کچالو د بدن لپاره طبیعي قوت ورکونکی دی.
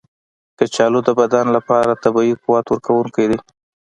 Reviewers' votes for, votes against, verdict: 2, 1, accepted